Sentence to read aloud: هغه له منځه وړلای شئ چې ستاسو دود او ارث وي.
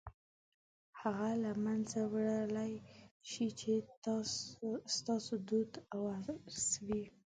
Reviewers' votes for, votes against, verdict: 0, 2, rejected